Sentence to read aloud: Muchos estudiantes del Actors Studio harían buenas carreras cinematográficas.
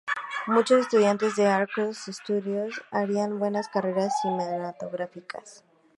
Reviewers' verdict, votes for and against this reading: rejected, 0, 2